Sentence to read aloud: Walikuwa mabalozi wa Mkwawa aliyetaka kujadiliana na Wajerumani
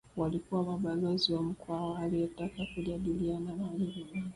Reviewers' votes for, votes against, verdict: 0, 2, rejected